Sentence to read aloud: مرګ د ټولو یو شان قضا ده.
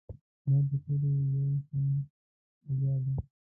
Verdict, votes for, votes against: rejected, 0, 2